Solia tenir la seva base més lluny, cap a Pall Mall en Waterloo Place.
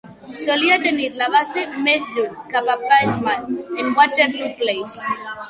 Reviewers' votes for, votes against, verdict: 2, 4, rejected